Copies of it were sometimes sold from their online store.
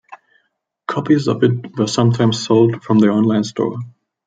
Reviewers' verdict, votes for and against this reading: rejected, 0, 2